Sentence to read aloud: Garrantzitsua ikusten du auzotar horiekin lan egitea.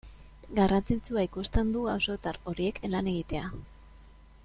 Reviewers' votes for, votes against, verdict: 2, 3, rejected